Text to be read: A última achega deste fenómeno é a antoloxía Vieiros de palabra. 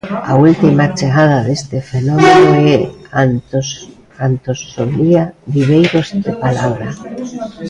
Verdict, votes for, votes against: rejected, 0, 2